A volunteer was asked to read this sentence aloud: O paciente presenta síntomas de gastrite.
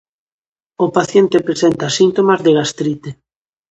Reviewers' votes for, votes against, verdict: 2, 0, accepted